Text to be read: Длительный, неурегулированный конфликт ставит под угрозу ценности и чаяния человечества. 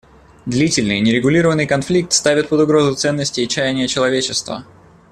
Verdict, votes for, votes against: accepted, 2, 0